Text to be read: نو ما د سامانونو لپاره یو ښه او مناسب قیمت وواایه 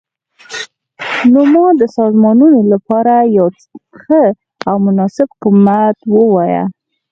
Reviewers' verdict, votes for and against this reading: rejected, 2, 4